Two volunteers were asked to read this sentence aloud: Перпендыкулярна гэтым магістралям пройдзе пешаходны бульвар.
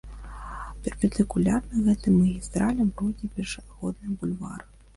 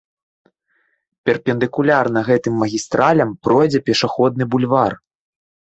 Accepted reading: second